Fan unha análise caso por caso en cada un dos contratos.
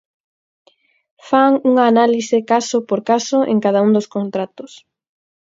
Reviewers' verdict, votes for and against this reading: accepted, 4, 0